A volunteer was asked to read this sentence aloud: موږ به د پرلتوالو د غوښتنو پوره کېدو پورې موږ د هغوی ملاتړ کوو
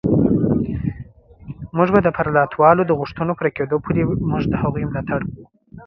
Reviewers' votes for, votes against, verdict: 2, 1, accepted